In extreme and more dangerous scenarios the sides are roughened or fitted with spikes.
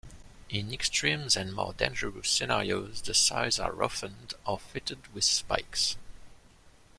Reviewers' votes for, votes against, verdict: 1, 2, rejected